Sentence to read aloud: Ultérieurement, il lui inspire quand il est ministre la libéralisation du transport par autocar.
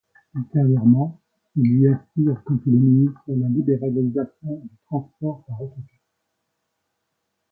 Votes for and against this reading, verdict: 0, 2, rejected